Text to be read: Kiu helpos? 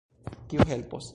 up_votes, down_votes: 2, 3